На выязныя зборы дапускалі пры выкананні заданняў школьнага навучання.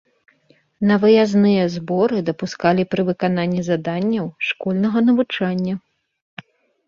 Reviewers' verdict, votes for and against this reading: accepted, 2, 0